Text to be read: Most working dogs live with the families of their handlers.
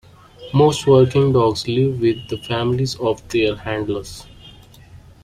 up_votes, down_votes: 2, 0